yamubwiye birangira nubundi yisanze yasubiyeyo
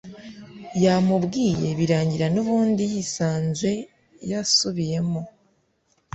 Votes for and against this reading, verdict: 1, 2, rejected